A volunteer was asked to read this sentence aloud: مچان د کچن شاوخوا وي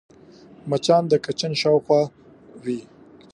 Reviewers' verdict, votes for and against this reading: accepted, 2, 1